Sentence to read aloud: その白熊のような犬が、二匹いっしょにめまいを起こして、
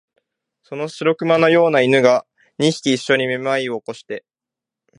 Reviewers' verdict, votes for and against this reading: accepted, 2, 0